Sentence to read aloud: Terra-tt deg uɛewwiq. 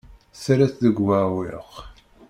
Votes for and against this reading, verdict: 1, 2, rejected